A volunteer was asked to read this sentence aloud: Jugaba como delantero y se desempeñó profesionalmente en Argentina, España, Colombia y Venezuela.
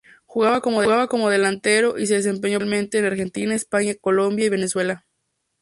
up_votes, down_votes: 0, 2